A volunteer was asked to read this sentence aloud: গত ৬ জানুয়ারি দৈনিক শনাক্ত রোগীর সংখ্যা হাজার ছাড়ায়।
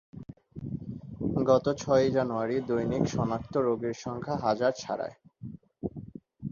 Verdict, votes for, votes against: rejected, 0, 2